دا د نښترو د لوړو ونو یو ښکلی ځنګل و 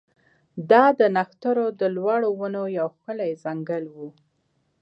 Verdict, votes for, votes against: accepted, 2, 0